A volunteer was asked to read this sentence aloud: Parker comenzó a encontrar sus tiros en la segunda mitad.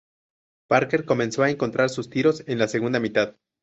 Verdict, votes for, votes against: accepted, 2, 0